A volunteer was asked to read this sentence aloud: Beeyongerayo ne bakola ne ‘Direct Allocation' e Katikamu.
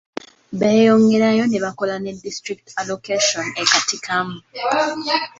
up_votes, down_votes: 1, 2